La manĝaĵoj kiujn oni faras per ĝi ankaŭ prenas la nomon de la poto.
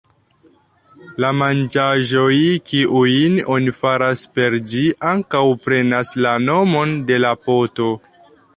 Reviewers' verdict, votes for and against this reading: accepted, 2, 0